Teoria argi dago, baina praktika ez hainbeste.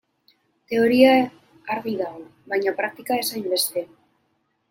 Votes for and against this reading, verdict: 2, 0, accepted